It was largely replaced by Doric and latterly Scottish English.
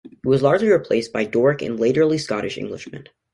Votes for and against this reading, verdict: 0, 2, rejected